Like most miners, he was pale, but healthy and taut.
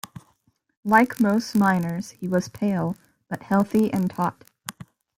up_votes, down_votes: 2, 0